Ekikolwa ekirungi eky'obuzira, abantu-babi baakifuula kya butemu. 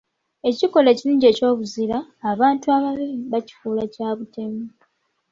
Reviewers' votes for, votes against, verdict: 0, 2, rejected